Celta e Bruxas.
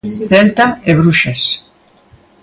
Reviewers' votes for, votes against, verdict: 2, 1, accepted